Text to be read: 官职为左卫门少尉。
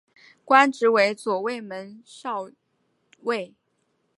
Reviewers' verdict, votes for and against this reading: accepted, 4, 0